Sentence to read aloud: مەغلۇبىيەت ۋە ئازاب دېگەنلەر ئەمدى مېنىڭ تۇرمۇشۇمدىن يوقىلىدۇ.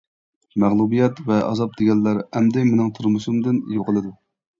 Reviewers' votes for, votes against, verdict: 1, 2, rejected